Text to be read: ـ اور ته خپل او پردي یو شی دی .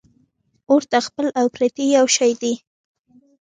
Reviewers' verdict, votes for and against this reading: rejected, 1, 2